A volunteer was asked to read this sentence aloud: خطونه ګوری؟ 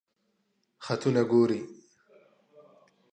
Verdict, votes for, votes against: accepted, 2, 0